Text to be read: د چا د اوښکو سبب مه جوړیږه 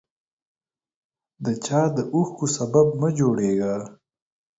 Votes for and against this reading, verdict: 4, 0, accepted